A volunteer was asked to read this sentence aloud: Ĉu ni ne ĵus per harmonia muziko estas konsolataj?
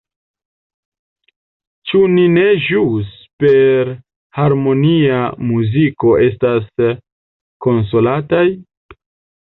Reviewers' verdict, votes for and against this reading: rejected, 0, 2